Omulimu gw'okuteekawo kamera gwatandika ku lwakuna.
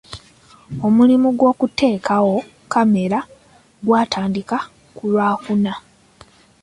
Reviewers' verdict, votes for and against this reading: accepted, 2, 0